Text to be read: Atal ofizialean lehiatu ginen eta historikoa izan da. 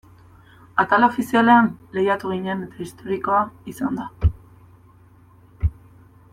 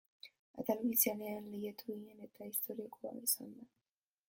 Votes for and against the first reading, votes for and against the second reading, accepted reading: 2, 0, 1, 3, first